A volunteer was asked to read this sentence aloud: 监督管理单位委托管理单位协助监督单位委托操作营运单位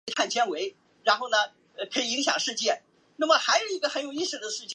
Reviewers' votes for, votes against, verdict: 0, 2, rejected